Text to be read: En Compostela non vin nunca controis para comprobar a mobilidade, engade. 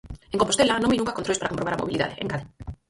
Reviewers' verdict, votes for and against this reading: rejected, 0, 4